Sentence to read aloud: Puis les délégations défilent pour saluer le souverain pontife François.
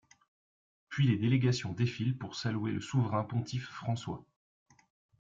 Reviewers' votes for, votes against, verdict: 1, 2, rejected